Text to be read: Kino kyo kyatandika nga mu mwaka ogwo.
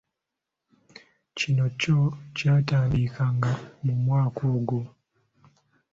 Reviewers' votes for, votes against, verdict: 2, 0, accepted